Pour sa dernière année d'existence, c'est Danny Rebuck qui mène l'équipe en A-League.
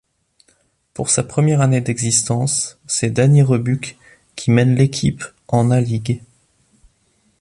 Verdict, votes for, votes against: rejected, 0, 2